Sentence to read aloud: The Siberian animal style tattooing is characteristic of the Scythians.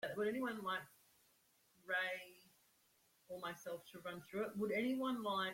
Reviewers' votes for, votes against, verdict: 0, 2, rejected